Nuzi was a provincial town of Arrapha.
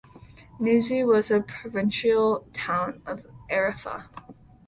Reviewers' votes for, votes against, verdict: 2, 0, accepted